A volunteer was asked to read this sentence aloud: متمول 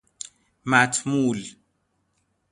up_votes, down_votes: 0, 2